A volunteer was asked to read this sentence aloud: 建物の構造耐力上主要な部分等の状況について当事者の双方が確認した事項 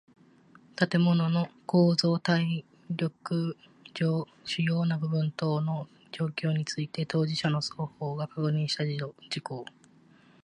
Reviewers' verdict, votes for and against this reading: rejected, 1, 2